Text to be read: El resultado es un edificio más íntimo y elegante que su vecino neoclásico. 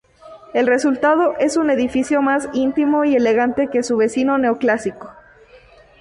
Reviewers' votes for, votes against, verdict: 2, 2, rejected